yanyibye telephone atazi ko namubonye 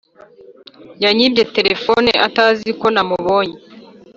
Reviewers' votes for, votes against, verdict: 2, 0, accepted